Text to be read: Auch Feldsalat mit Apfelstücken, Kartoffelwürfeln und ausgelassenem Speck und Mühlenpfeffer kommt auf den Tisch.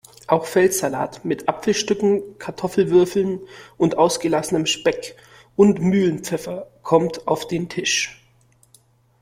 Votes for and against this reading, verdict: 2, 0, accepted